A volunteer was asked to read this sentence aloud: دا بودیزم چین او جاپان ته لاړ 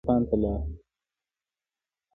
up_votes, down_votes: 1, 2